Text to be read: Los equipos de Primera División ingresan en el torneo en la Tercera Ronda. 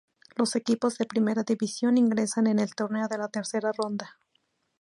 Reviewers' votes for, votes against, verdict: 0, 2, rejected